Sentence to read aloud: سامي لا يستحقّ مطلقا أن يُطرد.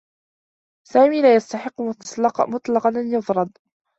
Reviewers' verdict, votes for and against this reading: rejected, 0, 2